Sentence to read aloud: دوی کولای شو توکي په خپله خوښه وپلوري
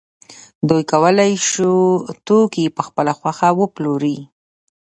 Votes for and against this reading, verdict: 0, 2, rejected